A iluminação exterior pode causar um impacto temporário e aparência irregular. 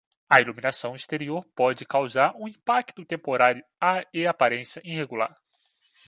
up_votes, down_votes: 0, 2